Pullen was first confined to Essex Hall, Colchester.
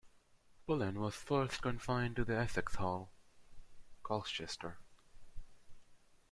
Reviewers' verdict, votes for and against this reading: rejected, 1, 2